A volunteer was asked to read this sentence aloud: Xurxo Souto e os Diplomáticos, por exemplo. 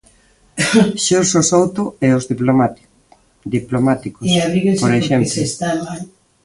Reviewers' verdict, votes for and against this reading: rejected, 0, 2